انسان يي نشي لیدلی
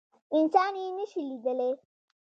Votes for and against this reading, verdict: 2, 0, accepted